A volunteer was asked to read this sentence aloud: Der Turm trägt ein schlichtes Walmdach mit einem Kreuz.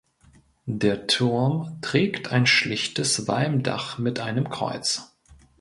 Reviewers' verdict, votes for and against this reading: accepted, 2, 0